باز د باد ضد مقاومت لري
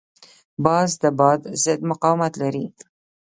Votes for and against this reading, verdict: 2, 0, accepted